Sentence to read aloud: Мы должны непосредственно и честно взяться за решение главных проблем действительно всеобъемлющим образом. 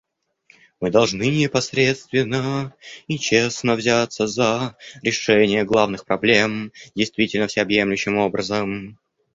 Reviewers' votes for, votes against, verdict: 0, 2, rejected